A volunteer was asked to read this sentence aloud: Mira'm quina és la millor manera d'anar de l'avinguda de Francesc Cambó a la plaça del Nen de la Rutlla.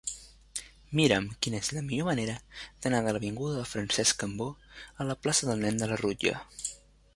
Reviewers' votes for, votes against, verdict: 2, 0, accepted